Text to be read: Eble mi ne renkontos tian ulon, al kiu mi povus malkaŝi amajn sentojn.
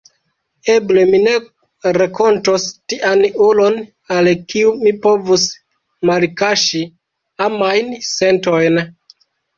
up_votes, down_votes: 2, 1